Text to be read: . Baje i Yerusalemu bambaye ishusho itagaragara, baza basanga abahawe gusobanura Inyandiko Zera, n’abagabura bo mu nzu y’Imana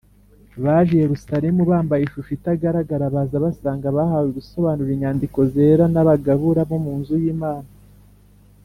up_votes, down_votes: 2, 0